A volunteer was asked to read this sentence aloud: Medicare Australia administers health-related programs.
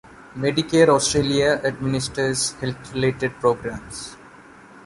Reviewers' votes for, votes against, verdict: 2, 0, accepted